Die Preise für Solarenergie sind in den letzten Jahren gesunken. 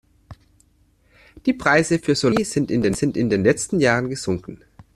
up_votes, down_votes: 0, 2